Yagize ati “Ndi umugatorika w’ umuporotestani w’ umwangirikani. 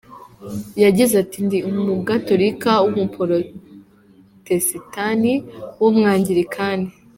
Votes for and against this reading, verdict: 2, 0, accepted